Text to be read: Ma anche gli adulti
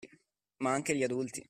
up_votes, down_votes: 2, 0